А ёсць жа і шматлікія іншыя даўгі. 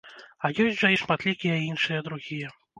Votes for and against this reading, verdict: 0, 2, rejected